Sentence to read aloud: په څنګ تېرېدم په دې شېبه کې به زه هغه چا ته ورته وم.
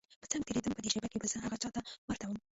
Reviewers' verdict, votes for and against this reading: rejected, 1, 2